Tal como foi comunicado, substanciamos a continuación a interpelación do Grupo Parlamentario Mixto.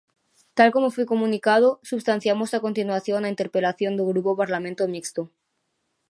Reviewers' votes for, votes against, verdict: 1, 2, rejected